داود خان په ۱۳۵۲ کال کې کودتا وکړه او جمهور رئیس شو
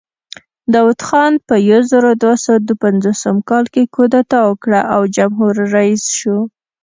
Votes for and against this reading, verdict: 0, 2, rejected